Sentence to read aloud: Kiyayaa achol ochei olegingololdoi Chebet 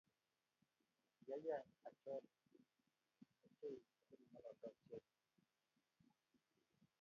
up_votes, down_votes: 0, 2